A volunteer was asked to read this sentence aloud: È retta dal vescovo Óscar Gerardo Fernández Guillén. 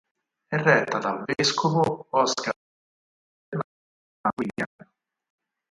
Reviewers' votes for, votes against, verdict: 0, 4, rejected